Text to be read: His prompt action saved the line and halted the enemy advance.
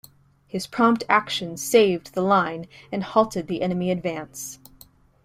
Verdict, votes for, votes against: accepted, 2, 0